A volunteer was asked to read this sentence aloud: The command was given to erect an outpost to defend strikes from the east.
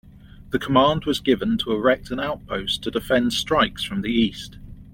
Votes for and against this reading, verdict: 2, 0, accepted